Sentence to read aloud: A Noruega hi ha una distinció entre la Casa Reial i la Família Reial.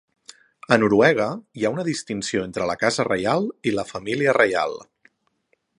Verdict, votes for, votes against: accepted, 2, 0